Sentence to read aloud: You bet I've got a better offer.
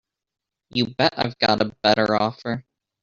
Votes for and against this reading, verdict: 3, 4, rejected